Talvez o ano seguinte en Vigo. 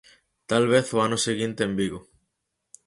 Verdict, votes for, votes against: accepted, 4, 0